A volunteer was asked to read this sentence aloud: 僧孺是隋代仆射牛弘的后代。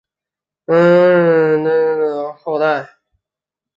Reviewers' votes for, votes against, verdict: 0, 2, rejected